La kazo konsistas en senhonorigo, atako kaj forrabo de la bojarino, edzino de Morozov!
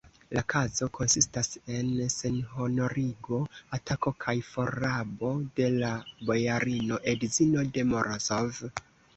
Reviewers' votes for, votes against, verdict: 1, 2, rejected